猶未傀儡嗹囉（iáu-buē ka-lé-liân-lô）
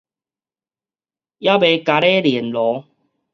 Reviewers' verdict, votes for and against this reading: rejected, 2, 2